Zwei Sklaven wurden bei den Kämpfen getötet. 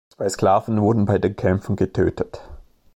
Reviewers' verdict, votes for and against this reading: accepted, 2, 0